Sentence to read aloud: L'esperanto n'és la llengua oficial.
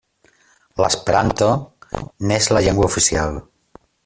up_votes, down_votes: 3, 1